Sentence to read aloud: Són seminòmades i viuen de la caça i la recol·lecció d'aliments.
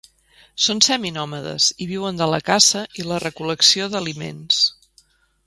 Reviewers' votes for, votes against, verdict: 4, 0, accepted